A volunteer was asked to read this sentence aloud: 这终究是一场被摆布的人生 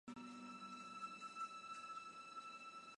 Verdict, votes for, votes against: rejected, 1, 2